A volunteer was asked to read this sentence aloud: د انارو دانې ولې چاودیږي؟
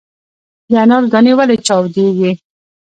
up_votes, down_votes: 2, 1